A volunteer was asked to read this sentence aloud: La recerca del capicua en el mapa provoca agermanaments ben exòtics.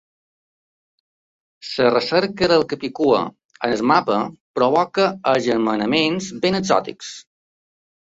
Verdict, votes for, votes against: rejected, 0, 2